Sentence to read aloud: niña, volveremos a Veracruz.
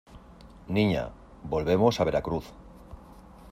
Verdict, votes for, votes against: accepted, 2, 0